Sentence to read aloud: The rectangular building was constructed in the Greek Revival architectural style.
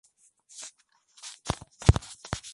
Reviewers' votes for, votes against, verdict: 0, 2, rejected